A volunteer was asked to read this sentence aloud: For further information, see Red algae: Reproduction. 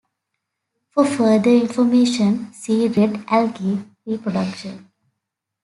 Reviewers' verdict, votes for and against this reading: accepted, 2, 0